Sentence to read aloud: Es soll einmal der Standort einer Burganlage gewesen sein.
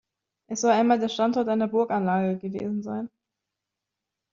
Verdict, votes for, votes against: accepted, 2, 1